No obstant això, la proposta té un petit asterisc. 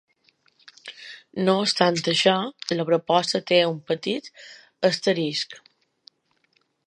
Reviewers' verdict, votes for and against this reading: accepted, 2, 1